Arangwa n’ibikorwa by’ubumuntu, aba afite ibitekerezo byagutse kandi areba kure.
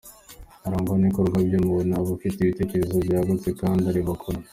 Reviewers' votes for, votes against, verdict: 2, 1, accepted